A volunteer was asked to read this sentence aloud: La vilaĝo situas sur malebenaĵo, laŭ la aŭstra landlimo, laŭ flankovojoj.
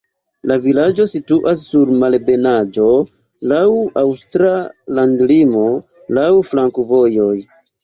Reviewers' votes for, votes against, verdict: 2, 3, rejected